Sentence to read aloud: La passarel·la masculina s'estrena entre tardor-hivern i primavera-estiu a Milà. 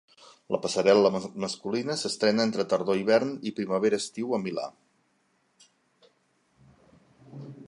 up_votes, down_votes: 0, 2